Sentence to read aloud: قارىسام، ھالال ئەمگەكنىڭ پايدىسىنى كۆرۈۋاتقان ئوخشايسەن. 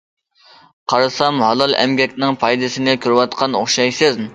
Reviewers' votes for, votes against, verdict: 0, 2, rejected